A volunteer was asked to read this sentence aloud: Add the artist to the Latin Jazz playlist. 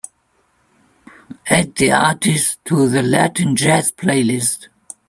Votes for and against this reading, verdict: 1, 2, rejected